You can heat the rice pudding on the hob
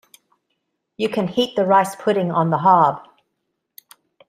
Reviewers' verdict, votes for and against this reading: accepted, 2, 0